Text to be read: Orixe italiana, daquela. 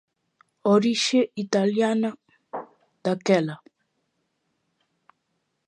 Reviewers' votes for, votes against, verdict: 1, 2, rejected